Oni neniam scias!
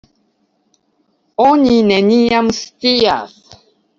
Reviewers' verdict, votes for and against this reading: accepted, 2, 0